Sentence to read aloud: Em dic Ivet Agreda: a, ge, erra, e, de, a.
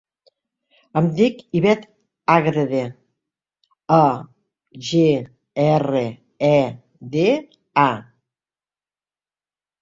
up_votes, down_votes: 2, 0